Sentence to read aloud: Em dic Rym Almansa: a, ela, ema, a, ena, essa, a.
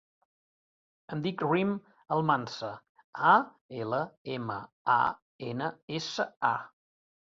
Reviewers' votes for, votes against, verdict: 2, 0, accepted